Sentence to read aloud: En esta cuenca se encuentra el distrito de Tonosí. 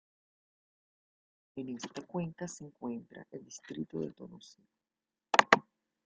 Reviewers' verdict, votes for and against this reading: rejected, 1, 2